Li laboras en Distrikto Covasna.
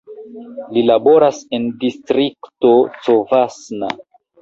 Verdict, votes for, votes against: accepted, 2, 1